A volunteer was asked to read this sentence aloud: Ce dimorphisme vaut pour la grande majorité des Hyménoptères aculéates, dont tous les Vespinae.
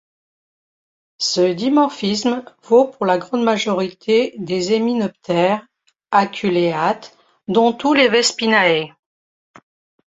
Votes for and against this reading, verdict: 1, 2, rejected